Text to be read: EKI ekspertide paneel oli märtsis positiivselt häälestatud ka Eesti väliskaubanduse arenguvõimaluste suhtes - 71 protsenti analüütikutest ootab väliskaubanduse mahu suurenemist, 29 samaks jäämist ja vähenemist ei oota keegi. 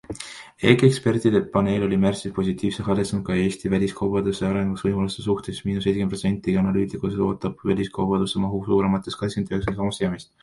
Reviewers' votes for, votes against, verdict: 0, 2, rejected